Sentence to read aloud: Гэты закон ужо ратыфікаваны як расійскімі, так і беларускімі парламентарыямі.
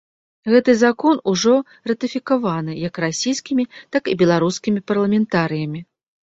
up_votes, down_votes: 2, 0